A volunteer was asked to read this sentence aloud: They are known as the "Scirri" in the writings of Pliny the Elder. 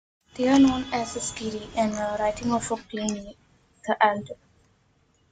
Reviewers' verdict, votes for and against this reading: rejected, 1, 2